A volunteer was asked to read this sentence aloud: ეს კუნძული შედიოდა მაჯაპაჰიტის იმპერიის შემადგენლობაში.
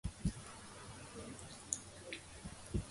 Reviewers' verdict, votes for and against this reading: rejected, 0, 2